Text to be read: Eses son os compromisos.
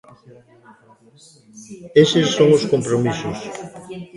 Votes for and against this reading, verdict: 0, 2, rejected